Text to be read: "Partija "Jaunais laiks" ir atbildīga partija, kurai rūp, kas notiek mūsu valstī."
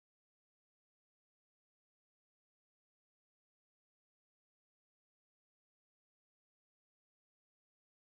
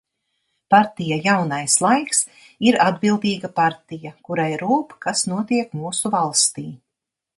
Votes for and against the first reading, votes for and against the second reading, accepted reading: 0, 2, 2, 0, second